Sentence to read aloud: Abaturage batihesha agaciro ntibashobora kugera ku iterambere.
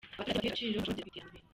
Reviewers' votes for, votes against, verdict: 0, 2, rejected